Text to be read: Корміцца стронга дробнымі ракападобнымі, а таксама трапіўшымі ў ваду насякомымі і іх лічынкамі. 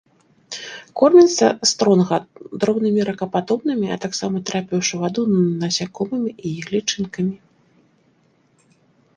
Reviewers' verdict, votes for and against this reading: rejected, 0, 2